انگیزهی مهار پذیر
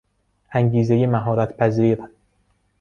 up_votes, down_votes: 0, 2